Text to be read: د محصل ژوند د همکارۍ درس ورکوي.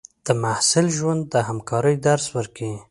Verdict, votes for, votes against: accepted, 3, 0